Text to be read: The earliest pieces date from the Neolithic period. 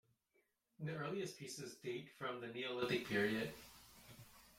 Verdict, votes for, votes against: rejected, 1, 2